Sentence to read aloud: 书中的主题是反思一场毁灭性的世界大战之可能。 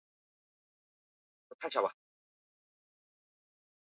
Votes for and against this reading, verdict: 1, 4, rejected